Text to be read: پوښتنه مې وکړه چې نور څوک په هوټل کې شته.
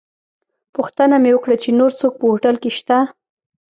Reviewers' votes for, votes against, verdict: 2, 0, accepted